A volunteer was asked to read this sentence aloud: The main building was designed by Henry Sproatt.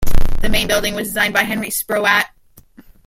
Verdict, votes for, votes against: rejected, 0, 2